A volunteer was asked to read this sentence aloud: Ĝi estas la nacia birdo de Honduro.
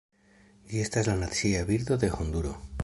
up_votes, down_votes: 2, 1